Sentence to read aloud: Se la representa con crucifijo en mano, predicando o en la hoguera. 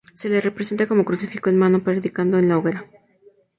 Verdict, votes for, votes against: rejected, 0, 2